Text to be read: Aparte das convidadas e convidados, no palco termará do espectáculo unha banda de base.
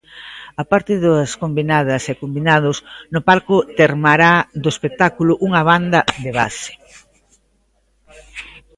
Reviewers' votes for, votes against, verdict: 1, 2, rejected